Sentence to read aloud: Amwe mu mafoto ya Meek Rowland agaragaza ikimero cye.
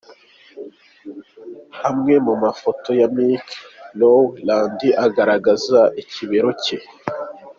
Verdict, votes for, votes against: accepted, 2, 1